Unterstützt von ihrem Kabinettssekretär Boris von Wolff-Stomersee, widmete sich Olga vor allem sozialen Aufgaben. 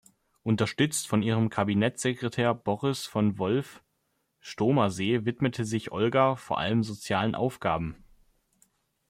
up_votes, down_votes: 1, 2